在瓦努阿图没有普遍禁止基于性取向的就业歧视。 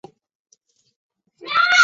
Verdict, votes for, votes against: rejected, 0, 3